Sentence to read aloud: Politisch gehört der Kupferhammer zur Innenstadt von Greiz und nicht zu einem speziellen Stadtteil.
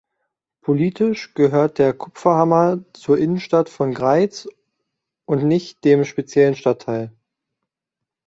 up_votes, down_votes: 0, 2